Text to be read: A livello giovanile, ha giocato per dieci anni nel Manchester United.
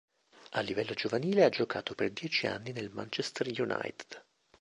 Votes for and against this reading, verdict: 2, 0, accepted